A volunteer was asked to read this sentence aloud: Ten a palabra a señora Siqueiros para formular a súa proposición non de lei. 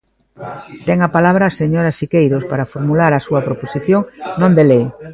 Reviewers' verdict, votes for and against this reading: accepted, 2, 1